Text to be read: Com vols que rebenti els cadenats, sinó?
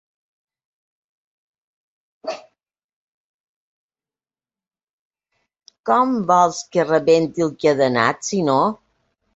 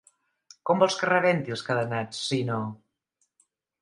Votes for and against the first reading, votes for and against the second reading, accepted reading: 0, 5, 2, 0, second